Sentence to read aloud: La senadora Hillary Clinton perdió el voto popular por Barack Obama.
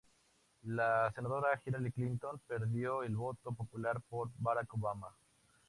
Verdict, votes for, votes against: rejected, 0, 2